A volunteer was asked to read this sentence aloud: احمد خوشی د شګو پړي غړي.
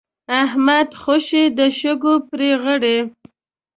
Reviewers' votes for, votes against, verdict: 2, 0, accepted